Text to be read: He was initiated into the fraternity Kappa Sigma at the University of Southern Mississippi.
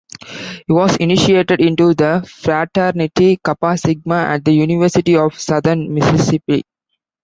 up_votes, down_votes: 1, 2